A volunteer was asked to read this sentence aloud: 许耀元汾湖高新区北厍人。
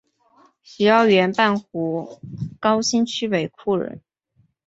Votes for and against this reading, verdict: 0, 2, rejected